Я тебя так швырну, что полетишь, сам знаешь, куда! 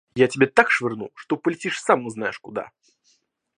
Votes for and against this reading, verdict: 0, 2, rejected